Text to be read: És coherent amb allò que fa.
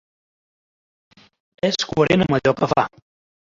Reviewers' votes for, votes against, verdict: 1, 2, rejected